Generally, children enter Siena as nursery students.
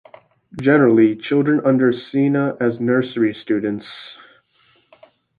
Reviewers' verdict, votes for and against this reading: rejected, 2, 3